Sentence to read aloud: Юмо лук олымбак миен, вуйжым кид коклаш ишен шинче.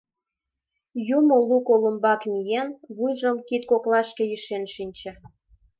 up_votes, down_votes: 1, 2